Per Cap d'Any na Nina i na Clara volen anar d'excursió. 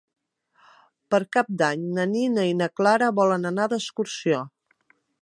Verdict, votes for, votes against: accepted, 3, 0